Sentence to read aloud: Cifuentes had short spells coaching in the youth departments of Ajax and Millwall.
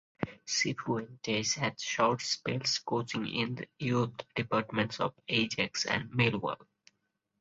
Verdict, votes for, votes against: rejected, 2, 2